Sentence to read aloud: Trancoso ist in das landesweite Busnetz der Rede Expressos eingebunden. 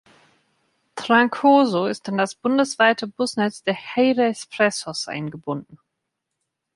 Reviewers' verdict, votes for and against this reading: rejected, 1, 2